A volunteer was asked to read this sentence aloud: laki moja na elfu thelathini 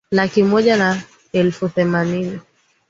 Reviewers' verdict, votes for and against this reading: rejected, 1, 2